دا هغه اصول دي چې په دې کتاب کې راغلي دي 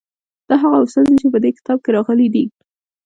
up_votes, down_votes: 1, 2